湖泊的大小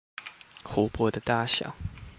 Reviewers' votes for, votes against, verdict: 2, 0, accepted